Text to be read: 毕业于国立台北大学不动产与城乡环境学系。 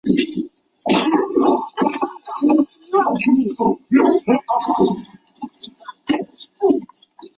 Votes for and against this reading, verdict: 3, 5, rejected